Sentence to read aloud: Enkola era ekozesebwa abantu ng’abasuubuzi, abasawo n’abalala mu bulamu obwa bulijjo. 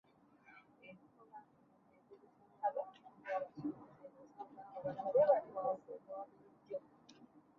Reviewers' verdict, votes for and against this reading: rejected, 0, 2